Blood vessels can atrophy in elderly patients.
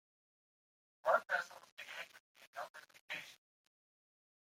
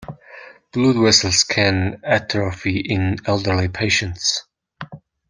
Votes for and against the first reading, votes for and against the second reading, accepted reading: 0, 2, 2, 0, second